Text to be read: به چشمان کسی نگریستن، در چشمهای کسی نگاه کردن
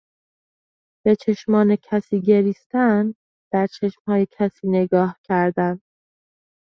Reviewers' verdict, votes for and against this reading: rejected, 1, 3